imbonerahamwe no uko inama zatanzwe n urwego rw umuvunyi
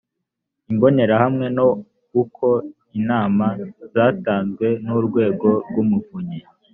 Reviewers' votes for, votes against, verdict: 2, 0, accepted